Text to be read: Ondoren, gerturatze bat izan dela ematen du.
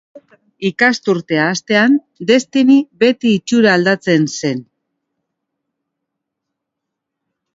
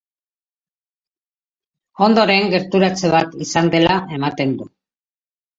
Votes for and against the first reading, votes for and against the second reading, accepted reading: 0, 2, 2, 0, second